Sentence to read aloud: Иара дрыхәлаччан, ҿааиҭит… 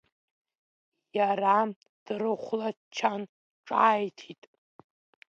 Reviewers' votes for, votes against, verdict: 2, 0, accepted